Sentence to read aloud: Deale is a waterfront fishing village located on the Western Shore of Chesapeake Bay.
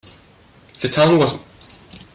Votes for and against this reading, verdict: 0, 2, rejected